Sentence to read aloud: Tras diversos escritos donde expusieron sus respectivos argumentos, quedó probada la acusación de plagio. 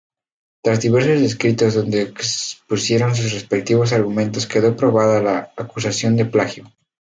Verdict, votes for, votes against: accepted, 2, 0